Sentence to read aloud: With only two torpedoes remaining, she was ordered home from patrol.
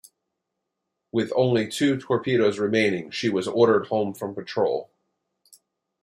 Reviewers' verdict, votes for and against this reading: accepted, 2, 0